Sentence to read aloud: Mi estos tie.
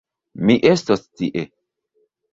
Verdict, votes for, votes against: accepted, 2, 0